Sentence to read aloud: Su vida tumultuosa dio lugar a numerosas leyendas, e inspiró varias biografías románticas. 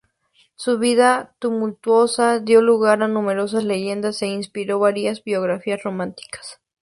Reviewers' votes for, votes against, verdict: 2, 0, accepted